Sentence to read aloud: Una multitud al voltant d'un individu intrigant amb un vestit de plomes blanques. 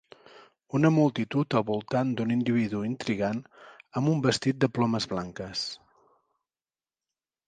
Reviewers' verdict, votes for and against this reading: accepted, 3, 0